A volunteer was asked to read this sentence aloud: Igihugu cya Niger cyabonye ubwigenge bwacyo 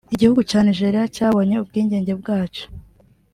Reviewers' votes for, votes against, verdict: 0, 2, rejected